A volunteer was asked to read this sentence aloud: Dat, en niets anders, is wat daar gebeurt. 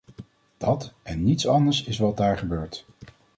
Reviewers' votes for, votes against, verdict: 2, 0, accepted